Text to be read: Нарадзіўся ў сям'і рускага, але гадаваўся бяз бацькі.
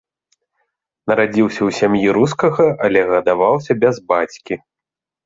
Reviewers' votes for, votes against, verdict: 2, 0, accepted